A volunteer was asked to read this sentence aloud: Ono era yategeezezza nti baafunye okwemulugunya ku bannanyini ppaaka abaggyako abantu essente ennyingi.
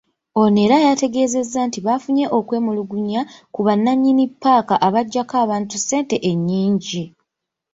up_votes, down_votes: 2, 0